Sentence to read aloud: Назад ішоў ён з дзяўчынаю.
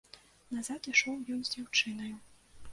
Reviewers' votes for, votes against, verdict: 2, 0, accepted